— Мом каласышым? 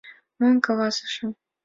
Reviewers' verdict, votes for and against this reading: accepted, 2, 0